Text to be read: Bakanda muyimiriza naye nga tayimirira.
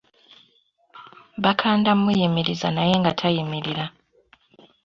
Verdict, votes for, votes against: accepted, 2, 0